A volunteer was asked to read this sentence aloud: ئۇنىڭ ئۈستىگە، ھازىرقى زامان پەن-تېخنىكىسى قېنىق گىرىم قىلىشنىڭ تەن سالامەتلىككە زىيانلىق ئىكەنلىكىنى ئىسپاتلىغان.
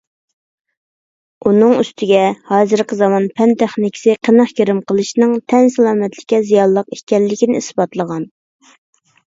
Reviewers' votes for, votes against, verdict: 2, 0, accepted